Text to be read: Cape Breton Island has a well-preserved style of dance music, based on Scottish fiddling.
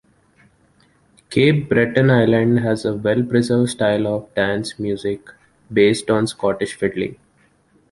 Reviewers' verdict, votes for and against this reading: accepted, 2, 1